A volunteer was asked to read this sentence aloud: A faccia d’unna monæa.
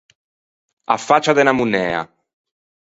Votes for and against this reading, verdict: 2, 4, rejected